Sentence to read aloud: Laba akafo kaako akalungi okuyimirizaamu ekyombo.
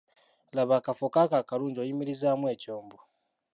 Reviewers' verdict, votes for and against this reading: rejected, 1, 2